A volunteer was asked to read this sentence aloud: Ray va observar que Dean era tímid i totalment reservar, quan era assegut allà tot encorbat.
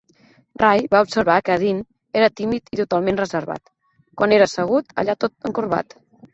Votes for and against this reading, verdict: 2, 0, accepted